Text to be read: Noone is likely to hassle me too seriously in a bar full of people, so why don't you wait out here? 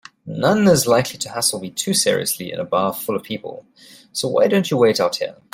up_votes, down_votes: 2, 0